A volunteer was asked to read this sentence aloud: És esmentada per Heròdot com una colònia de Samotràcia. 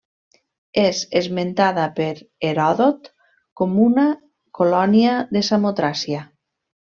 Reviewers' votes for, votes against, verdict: 3, 1, accepted